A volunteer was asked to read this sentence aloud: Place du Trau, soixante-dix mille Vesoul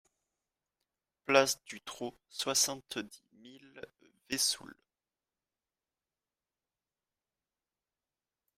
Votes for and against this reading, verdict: 0, 2, rejected